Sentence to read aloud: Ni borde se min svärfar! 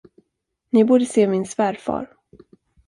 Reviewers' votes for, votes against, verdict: 2, 0, accepted